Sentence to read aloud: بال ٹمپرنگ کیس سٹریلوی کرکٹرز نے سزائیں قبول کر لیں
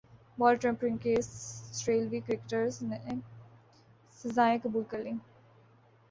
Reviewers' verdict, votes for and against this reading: accepted, 4, 0